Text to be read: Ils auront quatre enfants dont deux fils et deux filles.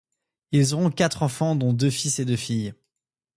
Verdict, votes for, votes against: accepted, 2, 0